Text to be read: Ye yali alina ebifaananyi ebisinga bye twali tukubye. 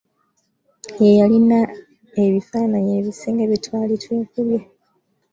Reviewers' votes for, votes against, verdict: 1, 2, rejected